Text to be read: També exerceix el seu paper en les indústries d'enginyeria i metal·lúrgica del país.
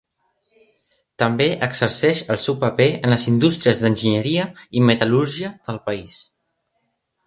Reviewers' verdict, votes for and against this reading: rejected, 0, 2